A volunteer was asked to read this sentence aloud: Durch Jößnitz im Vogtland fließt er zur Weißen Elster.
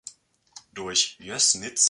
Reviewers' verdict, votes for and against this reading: rejected, 1, 2